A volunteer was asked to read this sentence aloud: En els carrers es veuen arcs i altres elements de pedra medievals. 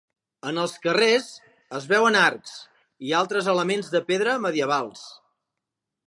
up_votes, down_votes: 2, 0